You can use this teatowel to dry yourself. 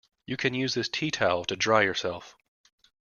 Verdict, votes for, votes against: accepted, 2, 0